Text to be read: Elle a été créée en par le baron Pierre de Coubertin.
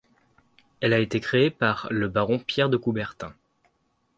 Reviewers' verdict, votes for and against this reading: rejected, 1, 2